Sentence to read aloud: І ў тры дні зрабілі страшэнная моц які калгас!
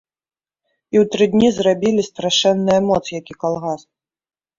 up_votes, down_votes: 2, 1